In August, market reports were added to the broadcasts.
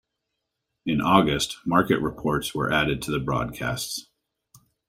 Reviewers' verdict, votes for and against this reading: accepted, 2, 0